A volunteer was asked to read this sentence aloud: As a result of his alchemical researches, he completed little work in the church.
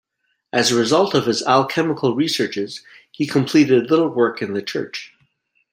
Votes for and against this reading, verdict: 2, 0, accepted